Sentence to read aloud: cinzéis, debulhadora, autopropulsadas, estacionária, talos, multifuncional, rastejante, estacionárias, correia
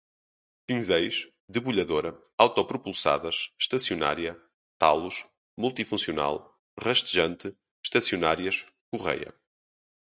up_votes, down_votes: 0, 2